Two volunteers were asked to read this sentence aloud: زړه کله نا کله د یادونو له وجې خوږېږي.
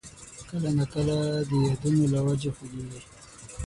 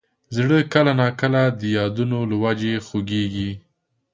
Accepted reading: second